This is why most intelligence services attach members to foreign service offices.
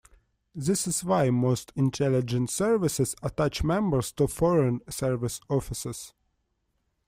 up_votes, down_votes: 2, 0